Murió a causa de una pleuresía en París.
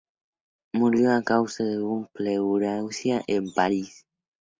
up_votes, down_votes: 0, 2